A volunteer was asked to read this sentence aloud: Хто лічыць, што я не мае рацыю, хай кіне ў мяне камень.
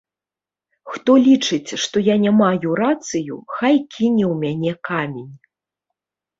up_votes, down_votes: 0, 2